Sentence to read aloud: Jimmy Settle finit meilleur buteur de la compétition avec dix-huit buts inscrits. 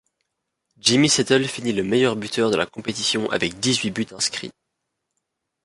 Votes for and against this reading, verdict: 1, 2, rejected